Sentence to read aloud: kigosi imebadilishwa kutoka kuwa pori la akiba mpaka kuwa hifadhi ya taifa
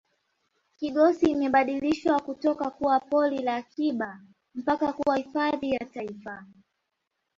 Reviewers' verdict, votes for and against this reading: accepted, 2, 0